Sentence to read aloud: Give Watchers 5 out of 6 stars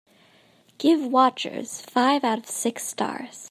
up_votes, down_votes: 0, 2